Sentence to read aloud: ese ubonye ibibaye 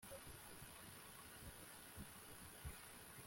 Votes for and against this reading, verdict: 0, 2, rejected